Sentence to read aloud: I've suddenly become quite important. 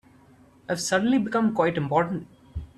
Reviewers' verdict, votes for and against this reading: accepted, 3, 0